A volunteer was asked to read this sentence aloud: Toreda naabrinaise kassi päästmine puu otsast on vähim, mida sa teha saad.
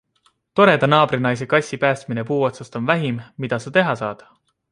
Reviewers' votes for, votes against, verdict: 2, 0, accepted